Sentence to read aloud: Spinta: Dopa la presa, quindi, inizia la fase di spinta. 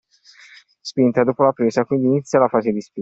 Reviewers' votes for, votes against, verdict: 1, 2, rejected